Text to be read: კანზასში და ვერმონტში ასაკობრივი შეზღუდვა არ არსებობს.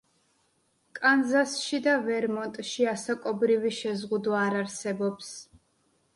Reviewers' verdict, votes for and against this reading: accepted, 2, 0